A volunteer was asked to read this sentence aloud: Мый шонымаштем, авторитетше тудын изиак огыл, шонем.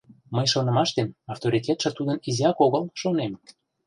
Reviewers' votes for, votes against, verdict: 2, 0, accepted